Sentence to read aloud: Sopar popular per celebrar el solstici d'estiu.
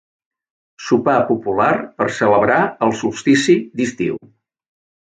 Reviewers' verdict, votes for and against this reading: accepted, 2, 0